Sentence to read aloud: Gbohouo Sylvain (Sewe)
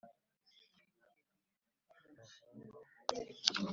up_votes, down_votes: 0, 2